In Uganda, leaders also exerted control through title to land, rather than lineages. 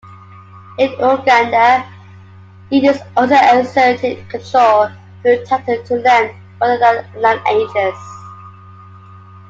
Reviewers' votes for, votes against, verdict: 2, 1, accepted